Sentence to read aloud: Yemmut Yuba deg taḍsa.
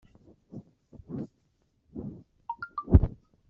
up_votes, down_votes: 1, 2